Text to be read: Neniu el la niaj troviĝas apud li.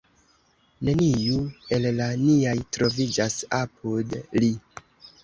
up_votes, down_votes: 2, 1